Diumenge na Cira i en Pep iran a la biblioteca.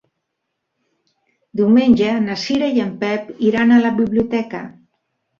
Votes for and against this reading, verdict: 3, 0, accepted